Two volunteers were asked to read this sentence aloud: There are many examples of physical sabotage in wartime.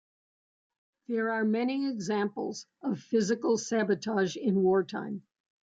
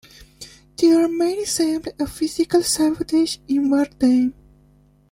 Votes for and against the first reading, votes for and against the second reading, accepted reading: 2, 0, 0, 2, first